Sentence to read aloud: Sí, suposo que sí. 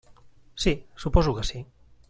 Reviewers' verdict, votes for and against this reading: accepted, 3, 0